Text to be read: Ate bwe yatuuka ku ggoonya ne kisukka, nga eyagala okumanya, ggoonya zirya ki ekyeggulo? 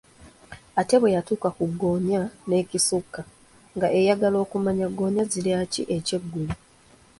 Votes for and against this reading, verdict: 1, 2, rejected